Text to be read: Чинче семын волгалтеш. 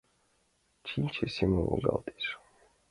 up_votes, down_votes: 2, 0